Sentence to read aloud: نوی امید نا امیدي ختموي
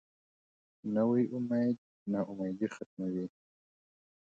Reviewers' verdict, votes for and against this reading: accepted, 2, 0